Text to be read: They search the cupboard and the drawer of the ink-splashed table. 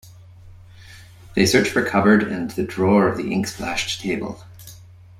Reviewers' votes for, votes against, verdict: 2, 1, accepted